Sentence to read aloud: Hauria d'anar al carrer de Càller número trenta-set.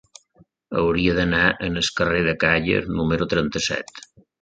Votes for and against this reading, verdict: 0, 2, rejected